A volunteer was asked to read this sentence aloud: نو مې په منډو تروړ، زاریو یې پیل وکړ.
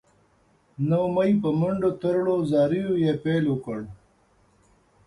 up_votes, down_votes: 0, 2